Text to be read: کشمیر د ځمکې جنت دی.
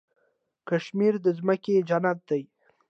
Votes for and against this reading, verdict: 2, 0, accepted